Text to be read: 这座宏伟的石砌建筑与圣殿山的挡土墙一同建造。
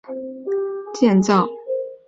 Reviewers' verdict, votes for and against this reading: rejected, 1, 2